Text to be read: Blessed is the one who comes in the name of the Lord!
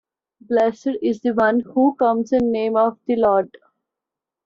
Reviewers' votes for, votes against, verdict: 0, 2, rejected